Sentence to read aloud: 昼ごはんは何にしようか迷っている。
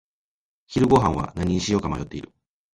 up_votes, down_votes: 3, 0